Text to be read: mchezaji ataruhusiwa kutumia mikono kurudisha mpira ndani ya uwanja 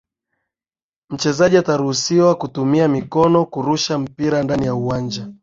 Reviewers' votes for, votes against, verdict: 0, 2, rejected